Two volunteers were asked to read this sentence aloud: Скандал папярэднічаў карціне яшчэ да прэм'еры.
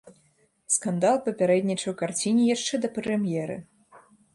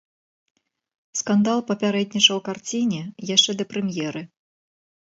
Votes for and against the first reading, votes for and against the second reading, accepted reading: 1, 2, 2, 0, second